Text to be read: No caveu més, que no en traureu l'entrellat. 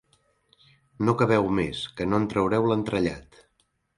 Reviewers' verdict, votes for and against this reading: accepted, 2, 0